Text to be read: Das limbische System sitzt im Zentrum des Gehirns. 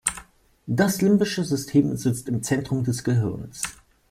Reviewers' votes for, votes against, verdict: 2, 0, accepted